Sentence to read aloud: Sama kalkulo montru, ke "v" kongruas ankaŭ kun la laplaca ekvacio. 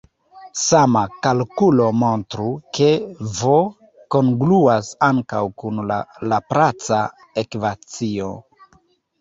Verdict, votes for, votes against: rejected, 1, 2